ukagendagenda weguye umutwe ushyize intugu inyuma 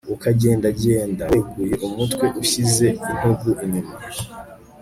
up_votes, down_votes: 3, 0